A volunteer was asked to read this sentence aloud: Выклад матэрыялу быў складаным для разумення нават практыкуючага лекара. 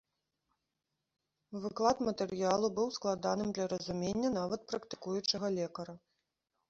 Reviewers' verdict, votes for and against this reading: rejected, 1, 2